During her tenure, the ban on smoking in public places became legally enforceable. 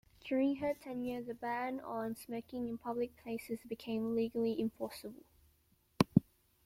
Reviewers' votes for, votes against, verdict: 0, 2, rejected